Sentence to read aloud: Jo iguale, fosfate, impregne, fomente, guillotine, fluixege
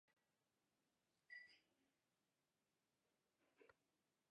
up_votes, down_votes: 0, 2